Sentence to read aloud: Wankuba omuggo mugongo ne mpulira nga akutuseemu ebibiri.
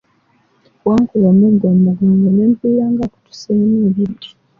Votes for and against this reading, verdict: 2, 0, accepted